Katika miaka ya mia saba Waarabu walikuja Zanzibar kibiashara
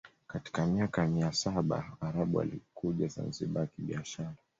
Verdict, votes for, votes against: accepted, 2, 0